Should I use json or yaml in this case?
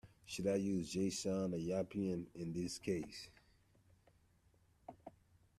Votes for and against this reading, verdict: 0, 2, rejected